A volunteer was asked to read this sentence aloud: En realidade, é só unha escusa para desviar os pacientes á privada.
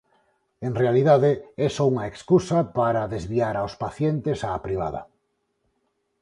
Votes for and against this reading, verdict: 0, 4, rejected